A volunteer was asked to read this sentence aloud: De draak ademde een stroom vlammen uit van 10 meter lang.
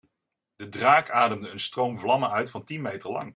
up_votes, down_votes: 0, 2